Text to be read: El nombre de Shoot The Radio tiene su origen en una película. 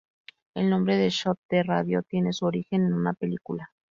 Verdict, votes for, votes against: rejected, 0, 2